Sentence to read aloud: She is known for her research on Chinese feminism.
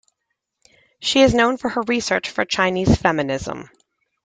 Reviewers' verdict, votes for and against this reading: rejected, 0, 2